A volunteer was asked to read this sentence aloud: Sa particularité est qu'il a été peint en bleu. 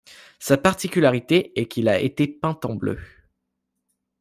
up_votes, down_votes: 2, 0